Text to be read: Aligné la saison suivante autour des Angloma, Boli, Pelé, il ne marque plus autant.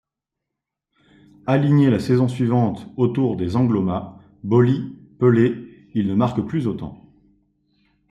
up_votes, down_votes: 2, 0